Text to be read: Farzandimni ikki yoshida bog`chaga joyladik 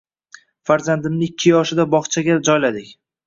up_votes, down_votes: 1, 2